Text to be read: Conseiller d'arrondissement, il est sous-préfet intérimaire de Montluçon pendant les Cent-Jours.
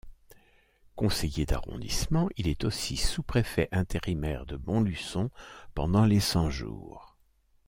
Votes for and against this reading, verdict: 0, 2, rejected